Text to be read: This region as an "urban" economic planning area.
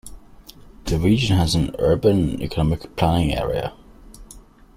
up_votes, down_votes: 1, 2